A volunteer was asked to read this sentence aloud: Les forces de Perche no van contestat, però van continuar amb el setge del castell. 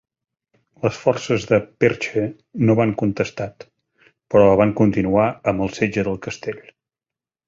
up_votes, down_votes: 3, 0